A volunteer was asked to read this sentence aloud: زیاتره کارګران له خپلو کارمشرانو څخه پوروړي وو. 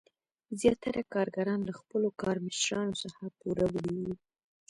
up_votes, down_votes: 2, 0